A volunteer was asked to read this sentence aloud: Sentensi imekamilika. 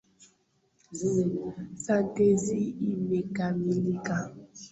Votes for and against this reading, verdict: 0, 2, rejected